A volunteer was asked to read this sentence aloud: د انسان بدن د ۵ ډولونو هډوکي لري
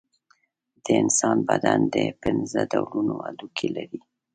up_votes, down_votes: 0, 2